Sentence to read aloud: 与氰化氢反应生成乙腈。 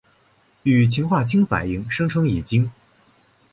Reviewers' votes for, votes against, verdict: 3, 0, accepted